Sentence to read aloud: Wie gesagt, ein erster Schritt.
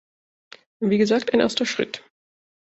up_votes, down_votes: 2, 0